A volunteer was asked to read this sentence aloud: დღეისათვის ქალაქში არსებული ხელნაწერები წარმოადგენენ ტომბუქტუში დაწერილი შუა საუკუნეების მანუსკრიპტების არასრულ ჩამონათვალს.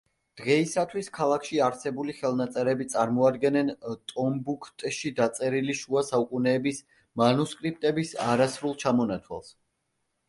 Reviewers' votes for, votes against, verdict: 1, 2, rejected